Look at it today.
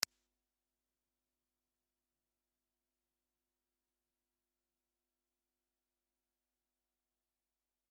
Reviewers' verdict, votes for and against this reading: rejected, 0, 2